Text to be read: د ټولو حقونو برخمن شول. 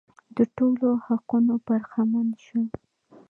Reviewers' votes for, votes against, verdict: 0, 2, rejected